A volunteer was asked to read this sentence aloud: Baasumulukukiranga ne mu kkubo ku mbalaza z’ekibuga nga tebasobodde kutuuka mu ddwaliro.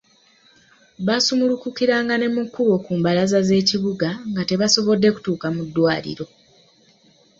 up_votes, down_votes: 2, 0